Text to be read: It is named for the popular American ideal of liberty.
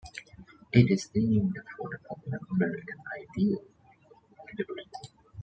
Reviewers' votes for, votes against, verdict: 0, 2, rejected